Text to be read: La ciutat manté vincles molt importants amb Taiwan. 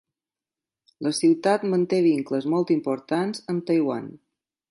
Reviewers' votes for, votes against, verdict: 4, 0, accepted